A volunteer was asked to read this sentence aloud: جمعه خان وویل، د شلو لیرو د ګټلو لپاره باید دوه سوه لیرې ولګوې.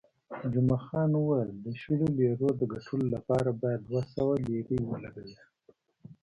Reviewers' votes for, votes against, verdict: 1, 2, rejected